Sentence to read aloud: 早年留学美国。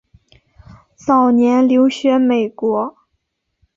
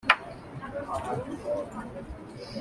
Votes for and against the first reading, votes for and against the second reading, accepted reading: 3, 0, 0, 2, first